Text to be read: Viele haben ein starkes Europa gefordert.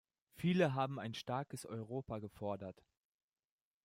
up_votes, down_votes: 2, 0